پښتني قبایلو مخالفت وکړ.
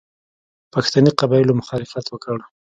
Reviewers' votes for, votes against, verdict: 1, 2, rejected